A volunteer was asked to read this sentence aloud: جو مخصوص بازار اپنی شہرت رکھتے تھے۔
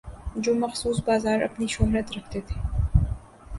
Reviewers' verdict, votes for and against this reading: accepted, 2, 0